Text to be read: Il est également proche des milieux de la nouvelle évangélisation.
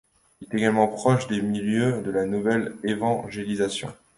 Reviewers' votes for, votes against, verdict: 1, 2, rejected